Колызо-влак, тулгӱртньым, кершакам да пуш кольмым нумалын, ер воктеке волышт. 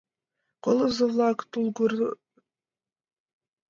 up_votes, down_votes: 0, 2